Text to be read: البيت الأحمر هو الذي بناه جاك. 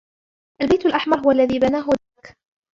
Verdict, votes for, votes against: rejected, 0, 2